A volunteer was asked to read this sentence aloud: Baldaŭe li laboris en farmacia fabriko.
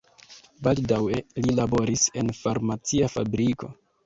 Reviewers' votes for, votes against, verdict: 0, 2, rejected